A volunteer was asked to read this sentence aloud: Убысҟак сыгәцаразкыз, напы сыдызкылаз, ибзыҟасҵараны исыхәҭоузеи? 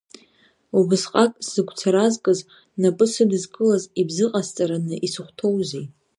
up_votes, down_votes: 2, 0